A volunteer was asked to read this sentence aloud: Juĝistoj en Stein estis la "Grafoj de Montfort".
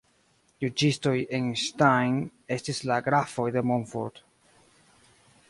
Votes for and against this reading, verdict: 1, 2, rejected